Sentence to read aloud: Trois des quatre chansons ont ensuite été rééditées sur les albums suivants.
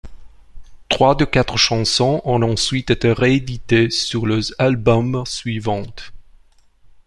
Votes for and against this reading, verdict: 0, 2, rejected